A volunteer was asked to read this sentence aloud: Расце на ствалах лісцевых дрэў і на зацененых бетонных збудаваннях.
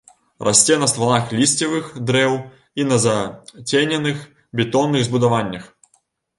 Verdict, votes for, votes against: rejected, 0, 2